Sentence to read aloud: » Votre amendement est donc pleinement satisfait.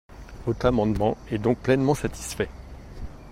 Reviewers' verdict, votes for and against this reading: rejected, 1, 2